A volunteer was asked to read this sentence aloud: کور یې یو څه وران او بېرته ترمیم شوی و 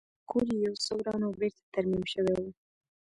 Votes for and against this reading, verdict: 2, 0, accepted